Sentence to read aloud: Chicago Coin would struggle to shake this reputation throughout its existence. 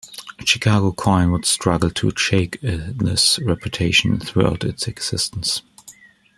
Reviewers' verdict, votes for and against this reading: rejected, 0, 2